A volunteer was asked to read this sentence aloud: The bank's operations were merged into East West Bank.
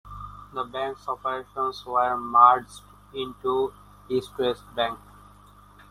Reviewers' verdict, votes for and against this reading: accepted, 2, 1